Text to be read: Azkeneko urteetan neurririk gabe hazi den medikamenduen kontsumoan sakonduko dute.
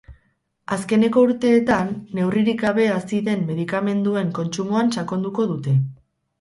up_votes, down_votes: 0, 2